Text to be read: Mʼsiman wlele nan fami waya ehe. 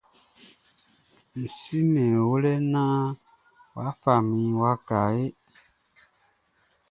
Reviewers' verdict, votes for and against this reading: accepted, 2, 1